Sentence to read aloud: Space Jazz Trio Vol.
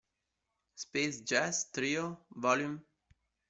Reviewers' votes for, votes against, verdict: 1, 2, rejected